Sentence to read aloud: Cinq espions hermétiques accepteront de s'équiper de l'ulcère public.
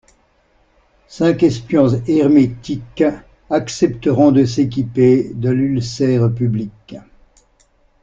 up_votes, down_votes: 2, 0